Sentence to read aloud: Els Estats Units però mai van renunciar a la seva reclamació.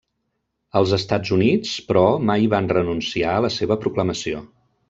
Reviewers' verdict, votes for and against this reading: rejected, 0, 2